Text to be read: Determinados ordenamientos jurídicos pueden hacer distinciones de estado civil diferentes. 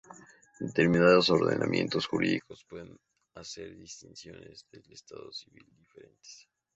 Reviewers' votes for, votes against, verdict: 0, 4, rejected